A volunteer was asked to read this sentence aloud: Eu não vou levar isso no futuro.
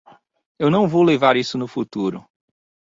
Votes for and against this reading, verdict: 2, 0, accepted